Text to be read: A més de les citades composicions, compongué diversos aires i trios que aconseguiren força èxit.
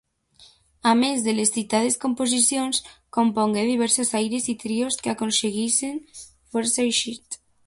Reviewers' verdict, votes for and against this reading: rejected, 1, 2